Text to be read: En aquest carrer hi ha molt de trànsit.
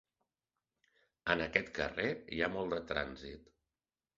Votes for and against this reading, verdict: 5, 0, accepted